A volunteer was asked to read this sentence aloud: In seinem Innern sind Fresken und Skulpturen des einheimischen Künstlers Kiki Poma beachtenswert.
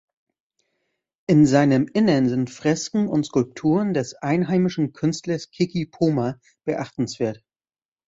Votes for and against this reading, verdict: 2, 0, accepted